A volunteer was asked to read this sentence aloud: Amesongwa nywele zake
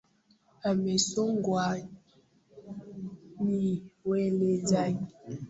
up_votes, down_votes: 0, 2